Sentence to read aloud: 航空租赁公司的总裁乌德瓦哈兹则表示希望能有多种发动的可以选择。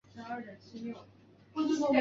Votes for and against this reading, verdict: 1, 2, rejected